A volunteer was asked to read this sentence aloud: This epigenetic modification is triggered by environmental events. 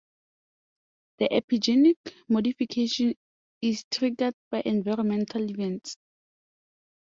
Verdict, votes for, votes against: rejected, 1, 4